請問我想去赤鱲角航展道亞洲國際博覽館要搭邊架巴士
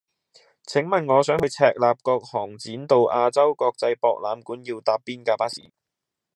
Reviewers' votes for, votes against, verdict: 2, 0, accepted